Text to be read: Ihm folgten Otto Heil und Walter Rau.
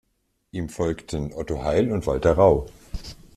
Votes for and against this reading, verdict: 3, 0, accepted